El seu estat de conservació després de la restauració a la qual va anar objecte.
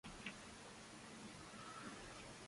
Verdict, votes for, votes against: rejected, 0, 2